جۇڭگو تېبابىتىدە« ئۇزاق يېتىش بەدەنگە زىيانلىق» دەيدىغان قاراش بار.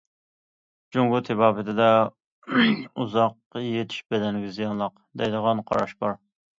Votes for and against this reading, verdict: 2, 1, accepted